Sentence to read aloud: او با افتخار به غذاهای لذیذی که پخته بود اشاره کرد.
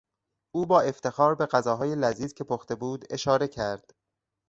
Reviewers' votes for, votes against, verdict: 2, 4, rejected